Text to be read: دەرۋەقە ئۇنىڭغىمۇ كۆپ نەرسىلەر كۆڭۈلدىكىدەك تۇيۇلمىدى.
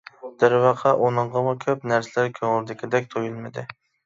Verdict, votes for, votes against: accepted, 2, 1